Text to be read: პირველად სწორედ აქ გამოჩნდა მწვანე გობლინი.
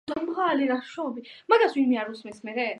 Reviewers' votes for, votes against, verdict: 0, 2, rejected